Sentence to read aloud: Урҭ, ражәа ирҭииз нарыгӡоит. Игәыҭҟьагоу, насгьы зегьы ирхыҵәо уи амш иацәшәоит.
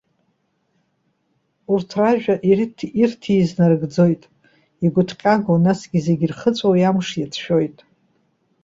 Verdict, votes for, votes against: rejected, 0, 2